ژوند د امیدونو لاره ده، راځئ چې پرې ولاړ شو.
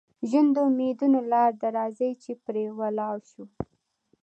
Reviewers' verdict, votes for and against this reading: accepted, 2, 0